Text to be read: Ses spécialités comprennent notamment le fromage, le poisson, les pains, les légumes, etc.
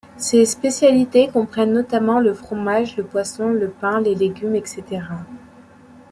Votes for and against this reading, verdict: 0, 2, rejected